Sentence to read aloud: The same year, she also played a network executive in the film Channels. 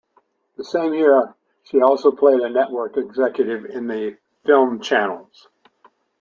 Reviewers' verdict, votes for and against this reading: rejected, 1, 2